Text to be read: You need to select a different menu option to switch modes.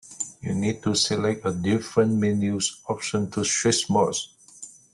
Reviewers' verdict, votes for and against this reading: rejected, 1, 2